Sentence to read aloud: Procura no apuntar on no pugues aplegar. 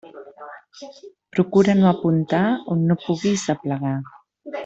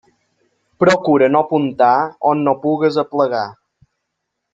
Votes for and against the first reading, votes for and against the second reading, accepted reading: 1, 2, 3, 0, second